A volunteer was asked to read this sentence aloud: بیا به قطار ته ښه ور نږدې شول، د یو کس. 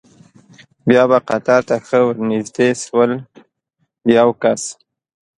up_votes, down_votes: 2, 0